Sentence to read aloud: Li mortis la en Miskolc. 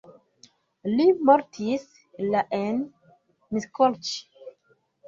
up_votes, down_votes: 0, 2